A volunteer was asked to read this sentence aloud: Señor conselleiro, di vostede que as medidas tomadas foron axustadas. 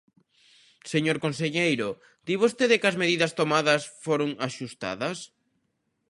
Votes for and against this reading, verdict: 2, 0, accepted